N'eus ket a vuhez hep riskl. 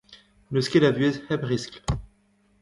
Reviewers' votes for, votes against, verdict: 2, 0, accepted